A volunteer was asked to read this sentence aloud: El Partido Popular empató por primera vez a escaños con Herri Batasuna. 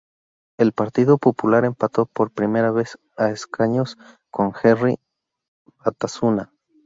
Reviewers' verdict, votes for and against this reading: accepted, 2, 0